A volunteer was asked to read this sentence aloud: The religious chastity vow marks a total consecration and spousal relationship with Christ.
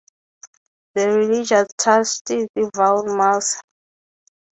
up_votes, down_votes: 0, 3